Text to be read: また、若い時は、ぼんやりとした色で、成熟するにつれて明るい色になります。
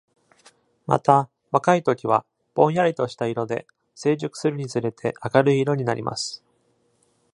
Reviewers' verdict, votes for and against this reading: accepted, 2, 0